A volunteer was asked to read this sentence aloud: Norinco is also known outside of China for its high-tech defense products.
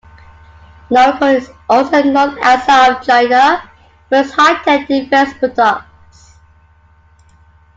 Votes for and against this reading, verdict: 0, 2, rejected